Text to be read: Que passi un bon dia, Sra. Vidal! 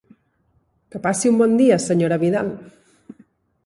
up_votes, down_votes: 2, 0